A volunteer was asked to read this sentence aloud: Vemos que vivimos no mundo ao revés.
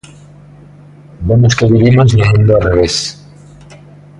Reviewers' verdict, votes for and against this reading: accepted, 2, 1